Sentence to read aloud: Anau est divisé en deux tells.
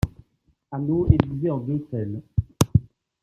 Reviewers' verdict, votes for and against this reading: accepted, 2, 0